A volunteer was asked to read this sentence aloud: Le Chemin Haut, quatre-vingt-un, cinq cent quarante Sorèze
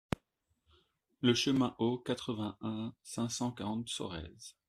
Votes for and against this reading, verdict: 2, 0, accepted